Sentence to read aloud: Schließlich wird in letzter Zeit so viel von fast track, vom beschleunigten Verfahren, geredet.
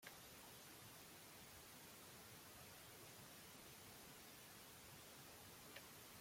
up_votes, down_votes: 0, 2